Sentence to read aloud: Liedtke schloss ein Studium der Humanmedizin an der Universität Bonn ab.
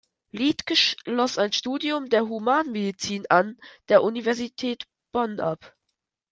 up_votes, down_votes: 1, 2